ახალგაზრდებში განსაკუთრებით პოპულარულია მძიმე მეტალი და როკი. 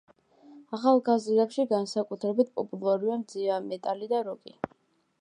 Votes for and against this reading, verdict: 1, 2, rejected